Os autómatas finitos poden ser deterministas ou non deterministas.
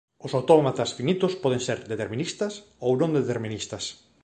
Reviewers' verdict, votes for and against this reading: accepted, 2, 0